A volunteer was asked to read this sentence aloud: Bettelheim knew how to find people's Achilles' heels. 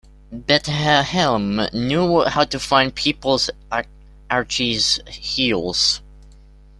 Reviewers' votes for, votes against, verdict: 0, 2, rejected